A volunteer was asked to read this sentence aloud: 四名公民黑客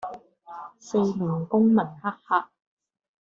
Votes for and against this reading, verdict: 1, 2, rejected